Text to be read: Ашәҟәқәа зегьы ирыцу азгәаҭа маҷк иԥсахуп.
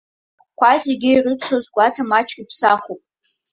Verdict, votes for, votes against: rejected, 0, 3